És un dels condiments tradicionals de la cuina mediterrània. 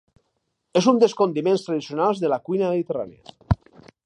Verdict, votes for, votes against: rejected, 2, 2